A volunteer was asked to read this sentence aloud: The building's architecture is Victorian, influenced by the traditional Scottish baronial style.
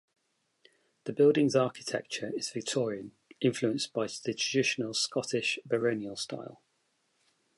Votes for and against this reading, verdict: 0, 2, rejected